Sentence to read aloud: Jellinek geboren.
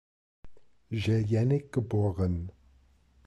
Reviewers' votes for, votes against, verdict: 2, 1, accepted